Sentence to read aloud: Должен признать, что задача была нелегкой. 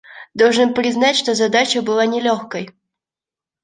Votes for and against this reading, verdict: 2, 0, accepted